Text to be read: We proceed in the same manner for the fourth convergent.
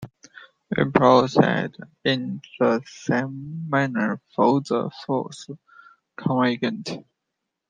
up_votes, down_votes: 0, 2